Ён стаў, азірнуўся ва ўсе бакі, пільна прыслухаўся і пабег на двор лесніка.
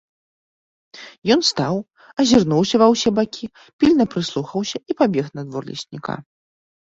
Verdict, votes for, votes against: accepted, 2, 0